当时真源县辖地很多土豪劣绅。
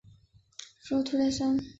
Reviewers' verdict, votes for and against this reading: rejected, 0, 6